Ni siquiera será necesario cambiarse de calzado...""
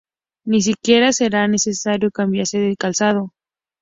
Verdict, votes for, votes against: accepted, 2, 0